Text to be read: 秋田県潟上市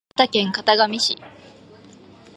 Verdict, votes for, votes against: rejected, 2, 2